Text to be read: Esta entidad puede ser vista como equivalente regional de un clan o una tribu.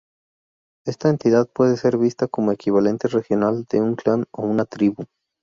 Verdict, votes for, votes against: rejected, 2, 2